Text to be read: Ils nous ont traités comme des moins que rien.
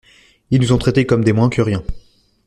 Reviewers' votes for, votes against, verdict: 0, 2, rejected